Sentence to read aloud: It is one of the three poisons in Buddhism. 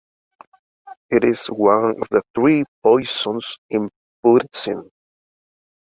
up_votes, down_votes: 0, 2